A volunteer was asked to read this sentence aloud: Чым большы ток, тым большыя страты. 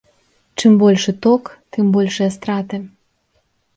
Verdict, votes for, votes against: accepted, 2, 0